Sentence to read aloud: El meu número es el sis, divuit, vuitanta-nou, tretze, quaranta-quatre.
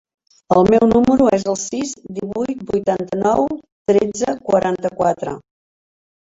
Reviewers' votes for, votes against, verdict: 5, 1, accepted